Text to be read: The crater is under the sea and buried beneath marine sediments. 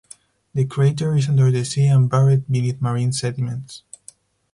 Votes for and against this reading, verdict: 2, 0, accepted